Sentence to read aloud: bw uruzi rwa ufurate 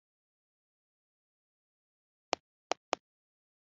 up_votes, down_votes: 0, 2